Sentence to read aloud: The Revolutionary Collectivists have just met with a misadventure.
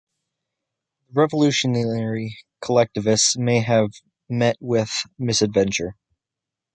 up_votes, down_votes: 0, 2